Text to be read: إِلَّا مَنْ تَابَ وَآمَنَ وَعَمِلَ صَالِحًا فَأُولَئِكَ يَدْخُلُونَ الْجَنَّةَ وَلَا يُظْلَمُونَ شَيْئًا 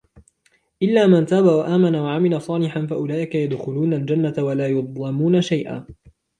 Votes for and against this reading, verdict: 2, 1, accepted